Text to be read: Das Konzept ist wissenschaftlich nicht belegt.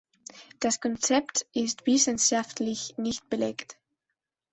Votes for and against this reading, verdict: 2, 0, accepted